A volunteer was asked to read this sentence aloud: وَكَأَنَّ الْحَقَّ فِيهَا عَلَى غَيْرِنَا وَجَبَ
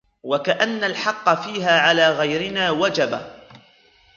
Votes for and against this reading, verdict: 0, 2, rejected